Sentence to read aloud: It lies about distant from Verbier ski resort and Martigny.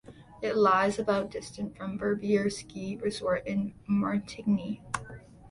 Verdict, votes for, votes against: rejected, 1, 2